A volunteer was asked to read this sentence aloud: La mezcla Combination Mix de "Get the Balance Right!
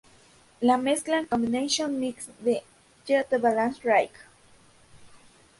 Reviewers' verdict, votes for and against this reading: rejected, 0, 4